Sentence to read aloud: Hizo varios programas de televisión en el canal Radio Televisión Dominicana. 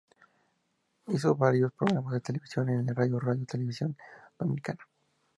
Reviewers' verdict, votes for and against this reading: accepted, 4, 0